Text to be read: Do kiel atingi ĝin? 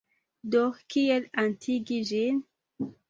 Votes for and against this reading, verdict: 0, 2, rejected